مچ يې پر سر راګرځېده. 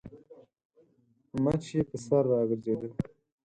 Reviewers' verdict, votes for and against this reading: accepted, 4, 0